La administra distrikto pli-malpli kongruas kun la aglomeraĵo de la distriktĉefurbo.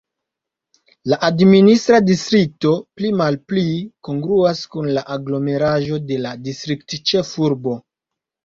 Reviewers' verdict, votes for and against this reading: accepted, 2, 0